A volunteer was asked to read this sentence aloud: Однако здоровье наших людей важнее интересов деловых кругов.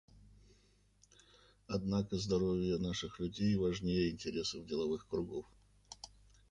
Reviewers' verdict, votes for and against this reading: rejected, 1, 2